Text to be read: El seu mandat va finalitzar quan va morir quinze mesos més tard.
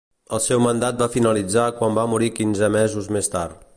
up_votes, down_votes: 2, 0